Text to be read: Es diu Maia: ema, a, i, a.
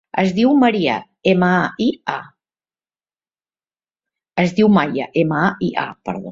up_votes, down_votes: 0, 2